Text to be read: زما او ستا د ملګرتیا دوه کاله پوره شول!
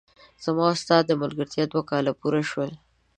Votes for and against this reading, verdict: 2, 1, accepted